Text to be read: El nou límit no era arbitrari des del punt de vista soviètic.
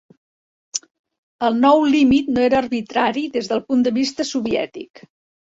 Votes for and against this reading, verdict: 2, 0, accepted